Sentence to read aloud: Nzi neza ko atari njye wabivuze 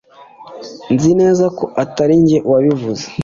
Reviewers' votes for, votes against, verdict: 3, 0, accepted